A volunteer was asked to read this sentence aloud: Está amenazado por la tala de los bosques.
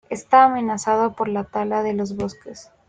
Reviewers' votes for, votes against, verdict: 2, 0, accepted